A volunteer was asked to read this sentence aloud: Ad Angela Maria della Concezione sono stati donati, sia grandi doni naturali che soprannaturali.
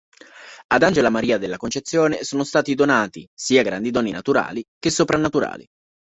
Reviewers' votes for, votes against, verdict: 2, 0, accepted